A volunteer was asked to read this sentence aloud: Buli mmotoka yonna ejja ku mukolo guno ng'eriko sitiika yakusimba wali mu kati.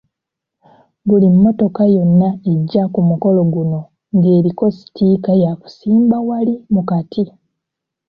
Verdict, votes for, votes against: accepted, 2, 1